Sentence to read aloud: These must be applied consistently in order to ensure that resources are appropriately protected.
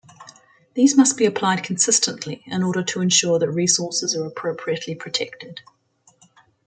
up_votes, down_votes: 2, 0